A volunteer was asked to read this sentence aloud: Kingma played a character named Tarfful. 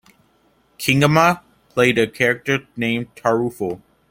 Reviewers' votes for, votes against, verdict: 1, 2, rejected